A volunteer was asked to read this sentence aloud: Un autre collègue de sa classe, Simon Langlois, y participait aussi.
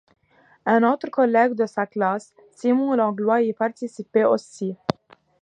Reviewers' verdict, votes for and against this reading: accepted, 2, 0